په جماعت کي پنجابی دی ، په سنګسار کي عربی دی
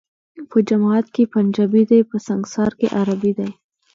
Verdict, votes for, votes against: accepted, 2, 1